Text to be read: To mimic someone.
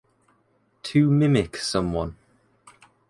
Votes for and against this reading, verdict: 2, 0, accepted